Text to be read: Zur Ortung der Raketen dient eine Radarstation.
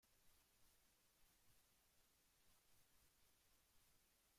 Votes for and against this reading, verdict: 0, 2, rejected